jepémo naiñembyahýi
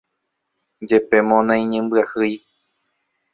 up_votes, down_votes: 0, 2